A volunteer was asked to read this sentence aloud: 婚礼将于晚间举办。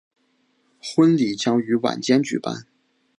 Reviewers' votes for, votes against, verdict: 3, 0, accepted